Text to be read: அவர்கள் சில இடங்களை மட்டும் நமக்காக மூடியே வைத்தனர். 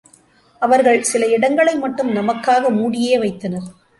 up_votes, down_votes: 2, 0